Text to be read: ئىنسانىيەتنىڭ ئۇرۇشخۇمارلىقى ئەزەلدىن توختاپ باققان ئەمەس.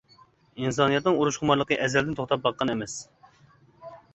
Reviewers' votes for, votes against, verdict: 2, 0, accepted